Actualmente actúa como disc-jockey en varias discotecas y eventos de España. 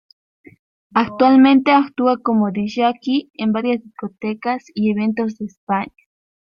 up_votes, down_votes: 2, 0